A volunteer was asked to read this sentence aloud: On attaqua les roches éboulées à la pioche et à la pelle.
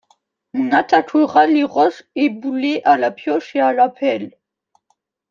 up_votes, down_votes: 0, 2